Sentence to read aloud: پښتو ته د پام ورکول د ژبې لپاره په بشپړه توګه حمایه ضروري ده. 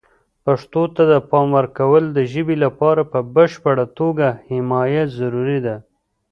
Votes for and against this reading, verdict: 1, 2, rejected